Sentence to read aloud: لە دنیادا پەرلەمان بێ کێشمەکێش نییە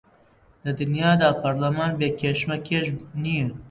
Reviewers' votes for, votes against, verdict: 2, 0, accepted